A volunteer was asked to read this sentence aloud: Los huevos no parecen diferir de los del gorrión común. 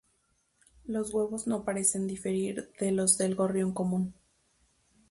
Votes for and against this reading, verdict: 0, 2, rejected